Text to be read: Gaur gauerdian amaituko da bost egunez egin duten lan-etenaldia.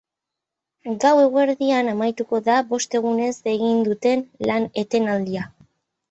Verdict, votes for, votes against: accepted, 4, 2